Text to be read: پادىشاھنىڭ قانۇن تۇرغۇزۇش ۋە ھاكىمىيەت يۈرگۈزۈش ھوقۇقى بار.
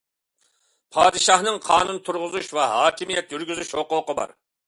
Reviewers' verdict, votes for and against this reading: accepted, 2, 0